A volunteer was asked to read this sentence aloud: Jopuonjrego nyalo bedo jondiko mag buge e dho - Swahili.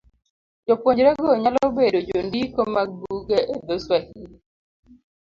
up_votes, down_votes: 2, 0